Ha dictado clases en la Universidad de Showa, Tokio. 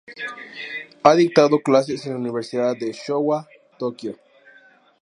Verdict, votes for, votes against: accepted, 2, 0